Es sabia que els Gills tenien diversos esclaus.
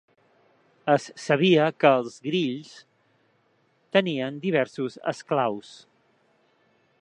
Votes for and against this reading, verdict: 1, 2, rejected